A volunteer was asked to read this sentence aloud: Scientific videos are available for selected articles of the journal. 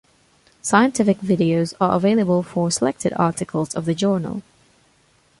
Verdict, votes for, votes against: accepted, 2, 0